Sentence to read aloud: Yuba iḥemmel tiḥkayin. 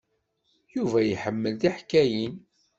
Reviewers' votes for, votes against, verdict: 2, 0, accepted